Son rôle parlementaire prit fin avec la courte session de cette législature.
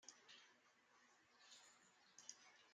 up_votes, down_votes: 0, 2